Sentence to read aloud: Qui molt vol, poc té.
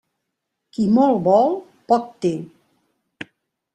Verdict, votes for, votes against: accepted, 3, 0